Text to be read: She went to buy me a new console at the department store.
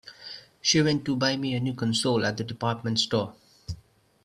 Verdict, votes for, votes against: accepted, 2, 0